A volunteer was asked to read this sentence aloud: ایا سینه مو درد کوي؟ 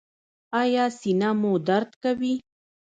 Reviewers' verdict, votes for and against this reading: rejected, 1, 2